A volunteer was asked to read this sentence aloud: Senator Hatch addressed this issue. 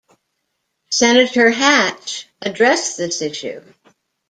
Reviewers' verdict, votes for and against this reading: accepted, 2, 0